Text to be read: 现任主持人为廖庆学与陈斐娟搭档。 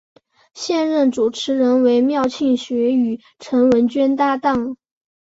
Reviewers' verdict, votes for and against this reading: rejected, 2, 2